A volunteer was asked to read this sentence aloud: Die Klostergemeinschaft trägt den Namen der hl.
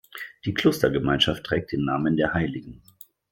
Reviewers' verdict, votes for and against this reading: rejected, 1, 2